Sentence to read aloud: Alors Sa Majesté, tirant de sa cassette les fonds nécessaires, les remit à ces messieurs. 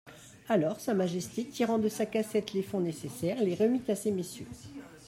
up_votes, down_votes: 0, 2